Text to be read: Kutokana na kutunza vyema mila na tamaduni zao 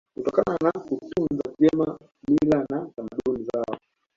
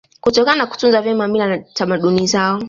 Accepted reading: second